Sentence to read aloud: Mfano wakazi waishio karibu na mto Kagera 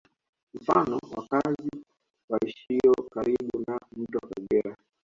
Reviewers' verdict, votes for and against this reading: rejected, 1, 2